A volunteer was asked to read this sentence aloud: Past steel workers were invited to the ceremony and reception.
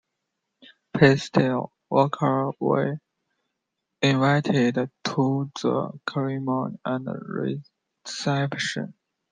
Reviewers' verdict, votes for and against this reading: rejected, 0, 2